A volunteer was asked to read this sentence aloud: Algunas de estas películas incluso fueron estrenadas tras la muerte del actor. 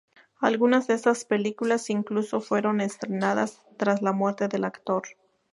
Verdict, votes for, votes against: accepted, 2, 0